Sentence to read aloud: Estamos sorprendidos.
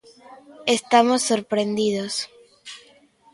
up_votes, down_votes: 2, 0